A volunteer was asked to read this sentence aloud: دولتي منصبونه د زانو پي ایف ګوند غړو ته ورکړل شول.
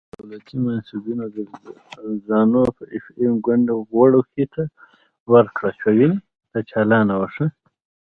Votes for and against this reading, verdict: 0, 2, rejected